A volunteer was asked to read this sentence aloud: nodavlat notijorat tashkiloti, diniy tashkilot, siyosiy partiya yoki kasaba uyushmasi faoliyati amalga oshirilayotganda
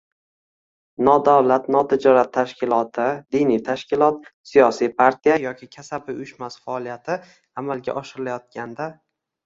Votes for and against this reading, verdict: 2, 1, accepted